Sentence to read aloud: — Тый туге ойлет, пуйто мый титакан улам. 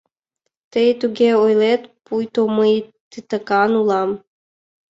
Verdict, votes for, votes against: accepted, 2, 0